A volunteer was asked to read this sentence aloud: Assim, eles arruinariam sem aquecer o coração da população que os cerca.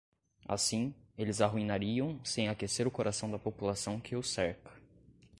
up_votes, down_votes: 2, 0